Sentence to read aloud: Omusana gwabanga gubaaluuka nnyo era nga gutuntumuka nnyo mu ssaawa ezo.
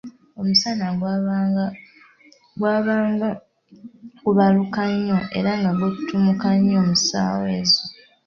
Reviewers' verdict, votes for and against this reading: rejected, 0, 2